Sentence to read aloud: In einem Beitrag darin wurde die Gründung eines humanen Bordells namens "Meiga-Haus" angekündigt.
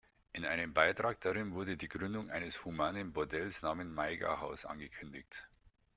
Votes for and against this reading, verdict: 0, 2, rejected